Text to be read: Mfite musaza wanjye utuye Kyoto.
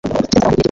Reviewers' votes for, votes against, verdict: 1, 2, rejected